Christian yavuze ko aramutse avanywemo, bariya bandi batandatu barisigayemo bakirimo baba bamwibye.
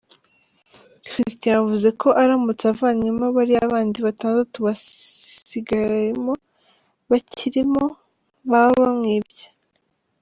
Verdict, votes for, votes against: rejected, 1, 2